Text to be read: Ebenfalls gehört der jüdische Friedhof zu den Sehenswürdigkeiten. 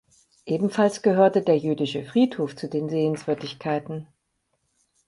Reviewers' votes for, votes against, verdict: 0, 4, rejected